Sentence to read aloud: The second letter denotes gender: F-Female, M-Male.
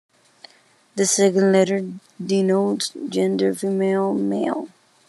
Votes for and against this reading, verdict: 0, 2, rejected